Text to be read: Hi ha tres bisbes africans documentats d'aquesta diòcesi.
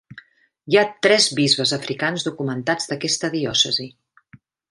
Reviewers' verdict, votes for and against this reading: accepted, 3, 0